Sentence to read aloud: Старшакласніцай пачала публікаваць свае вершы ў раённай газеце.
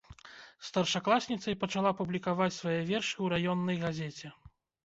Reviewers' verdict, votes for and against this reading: accepted, 2, 0